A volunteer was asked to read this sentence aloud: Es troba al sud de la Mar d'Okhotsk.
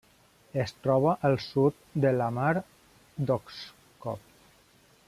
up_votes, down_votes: 0, 2